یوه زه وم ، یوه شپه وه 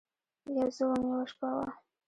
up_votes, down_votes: 1, 2